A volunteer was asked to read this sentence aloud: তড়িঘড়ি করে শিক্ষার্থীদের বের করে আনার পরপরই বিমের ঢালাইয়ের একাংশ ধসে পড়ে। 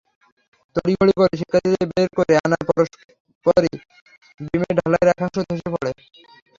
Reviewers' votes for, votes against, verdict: 0, 3, rejected